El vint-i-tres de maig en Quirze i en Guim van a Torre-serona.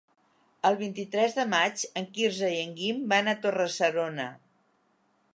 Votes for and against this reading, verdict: 3, 0, accepted